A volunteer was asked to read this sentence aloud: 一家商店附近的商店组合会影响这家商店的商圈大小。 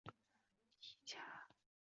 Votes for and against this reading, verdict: 1, 3, rejected